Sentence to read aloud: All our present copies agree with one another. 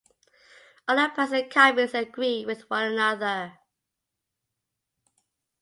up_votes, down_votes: 1, 2